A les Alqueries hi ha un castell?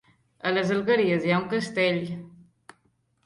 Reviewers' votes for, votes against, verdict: 0, 2, rejected